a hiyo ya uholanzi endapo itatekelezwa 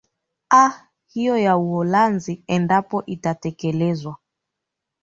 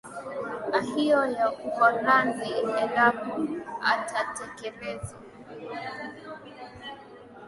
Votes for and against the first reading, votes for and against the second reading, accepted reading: 2, 0, 1, 2, first